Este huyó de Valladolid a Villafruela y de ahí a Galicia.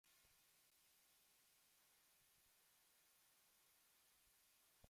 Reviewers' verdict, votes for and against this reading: rejected, 0, 2